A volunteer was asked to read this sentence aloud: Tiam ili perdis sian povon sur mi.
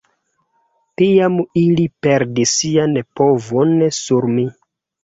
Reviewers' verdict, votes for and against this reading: rejected, 1, 2